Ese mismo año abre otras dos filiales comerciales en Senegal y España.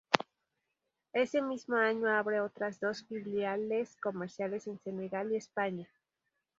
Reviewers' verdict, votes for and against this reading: accepted, 2, 0